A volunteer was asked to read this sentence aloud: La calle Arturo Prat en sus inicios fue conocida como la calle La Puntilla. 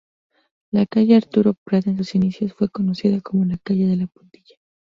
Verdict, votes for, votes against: rejected, 4, 6